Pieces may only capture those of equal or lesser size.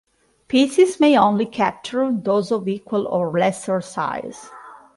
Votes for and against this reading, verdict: 2, 0, accepted